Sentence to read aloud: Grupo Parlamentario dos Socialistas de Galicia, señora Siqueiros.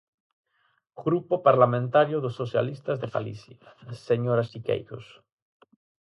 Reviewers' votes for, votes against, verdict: 4, 0, accepted